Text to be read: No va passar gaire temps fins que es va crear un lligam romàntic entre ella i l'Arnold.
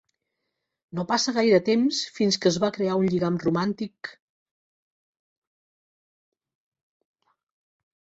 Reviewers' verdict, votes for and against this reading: rejected, 0, 2